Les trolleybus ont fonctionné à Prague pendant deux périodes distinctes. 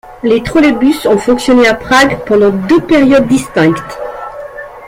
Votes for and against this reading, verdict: 2, 3, rejected